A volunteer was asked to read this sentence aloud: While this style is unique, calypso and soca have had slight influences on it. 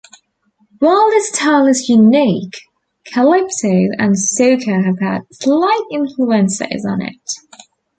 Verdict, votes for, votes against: rejected, 1, 2